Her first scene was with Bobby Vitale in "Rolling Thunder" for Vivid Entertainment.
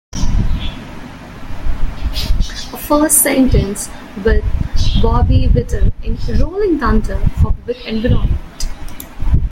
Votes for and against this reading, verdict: 0, 2, rejected